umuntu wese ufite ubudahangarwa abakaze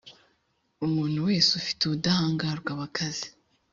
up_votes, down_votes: 4, 0